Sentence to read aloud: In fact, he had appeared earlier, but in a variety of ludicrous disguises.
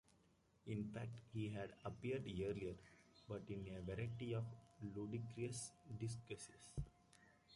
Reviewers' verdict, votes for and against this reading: rejected, 1, 2